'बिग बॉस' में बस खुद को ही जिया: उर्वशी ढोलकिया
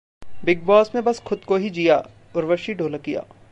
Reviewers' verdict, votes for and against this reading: accepted, 2, 0